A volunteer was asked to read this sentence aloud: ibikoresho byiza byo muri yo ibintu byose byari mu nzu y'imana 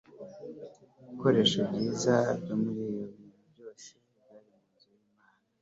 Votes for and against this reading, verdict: 2, 0, accepted